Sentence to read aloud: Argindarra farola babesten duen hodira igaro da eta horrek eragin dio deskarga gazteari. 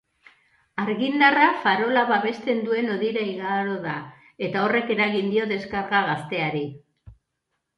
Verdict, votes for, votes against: accepted, 3, 1